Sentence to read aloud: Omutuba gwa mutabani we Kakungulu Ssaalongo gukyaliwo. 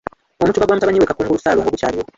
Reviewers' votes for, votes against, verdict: 1, 2, rejected